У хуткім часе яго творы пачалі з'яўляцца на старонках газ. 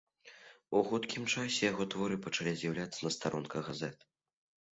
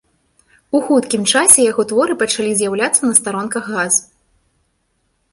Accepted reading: second